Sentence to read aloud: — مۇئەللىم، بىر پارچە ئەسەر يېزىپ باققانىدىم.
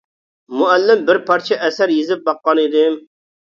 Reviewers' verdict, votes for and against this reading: accepted, 2, 0